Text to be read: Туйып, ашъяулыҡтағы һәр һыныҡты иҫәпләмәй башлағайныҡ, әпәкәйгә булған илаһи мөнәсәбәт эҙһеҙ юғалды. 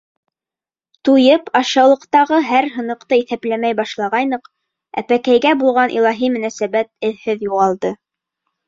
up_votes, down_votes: 2, 0